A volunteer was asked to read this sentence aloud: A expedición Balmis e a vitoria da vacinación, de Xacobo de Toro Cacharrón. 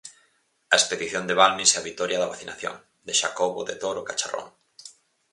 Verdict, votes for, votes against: rejected, 0, 4